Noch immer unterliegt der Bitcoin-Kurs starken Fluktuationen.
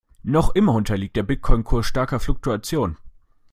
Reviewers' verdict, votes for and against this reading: rejected, 1, 2